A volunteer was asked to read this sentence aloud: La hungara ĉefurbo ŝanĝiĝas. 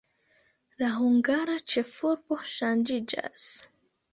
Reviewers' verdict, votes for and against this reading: accepted, 2, 0